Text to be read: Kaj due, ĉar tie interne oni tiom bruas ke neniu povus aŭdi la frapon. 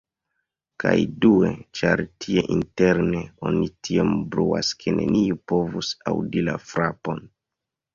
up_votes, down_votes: 2, 1